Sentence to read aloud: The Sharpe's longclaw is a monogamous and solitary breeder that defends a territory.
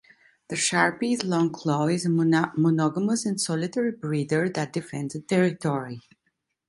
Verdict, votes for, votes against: rejected, 1, 2